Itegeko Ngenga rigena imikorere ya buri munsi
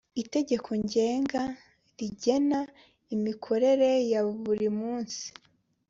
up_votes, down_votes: 2, 0